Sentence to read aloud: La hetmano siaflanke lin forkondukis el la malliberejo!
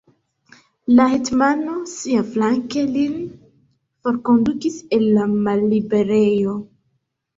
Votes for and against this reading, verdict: 1, 2, rejected